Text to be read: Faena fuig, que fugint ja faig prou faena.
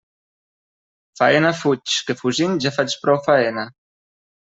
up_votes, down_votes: 3, 0